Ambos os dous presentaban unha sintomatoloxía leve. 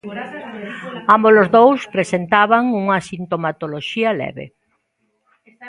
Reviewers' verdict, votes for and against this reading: rejected, 1, 2